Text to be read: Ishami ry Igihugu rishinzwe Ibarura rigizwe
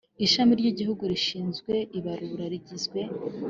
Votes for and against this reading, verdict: 2, 0, accepted